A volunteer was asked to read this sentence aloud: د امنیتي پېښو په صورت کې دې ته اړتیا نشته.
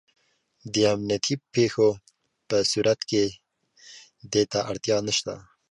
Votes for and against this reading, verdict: 2, 0, accepted